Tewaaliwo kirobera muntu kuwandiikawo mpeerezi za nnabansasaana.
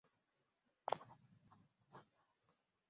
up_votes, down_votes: 0, 2